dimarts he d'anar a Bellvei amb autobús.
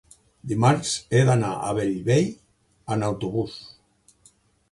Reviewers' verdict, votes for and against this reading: rejected, 1, 2